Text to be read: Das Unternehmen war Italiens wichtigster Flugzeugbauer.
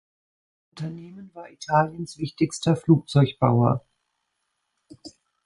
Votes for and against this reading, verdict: 0, 2, rejected